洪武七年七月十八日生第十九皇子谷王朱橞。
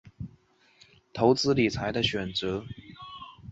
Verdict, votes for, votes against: rejected, 0, 2